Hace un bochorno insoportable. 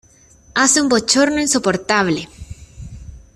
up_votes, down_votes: 2, 0